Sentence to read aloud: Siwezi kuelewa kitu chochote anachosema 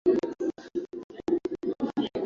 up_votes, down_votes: 4, 7